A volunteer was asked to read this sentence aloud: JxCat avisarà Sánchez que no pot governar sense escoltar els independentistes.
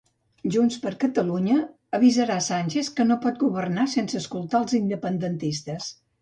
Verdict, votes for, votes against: rejected, 0, 2